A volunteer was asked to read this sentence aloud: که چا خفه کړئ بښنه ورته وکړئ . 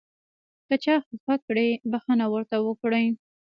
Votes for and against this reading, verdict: 2, 0, accepted